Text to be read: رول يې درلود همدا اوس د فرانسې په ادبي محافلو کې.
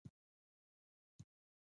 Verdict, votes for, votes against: accepted, 2, 0